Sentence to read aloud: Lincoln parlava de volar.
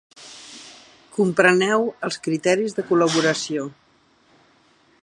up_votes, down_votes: 1, 3